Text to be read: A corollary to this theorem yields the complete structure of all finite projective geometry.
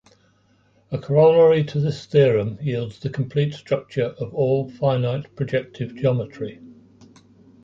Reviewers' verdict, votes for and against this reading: rejected, 1, 2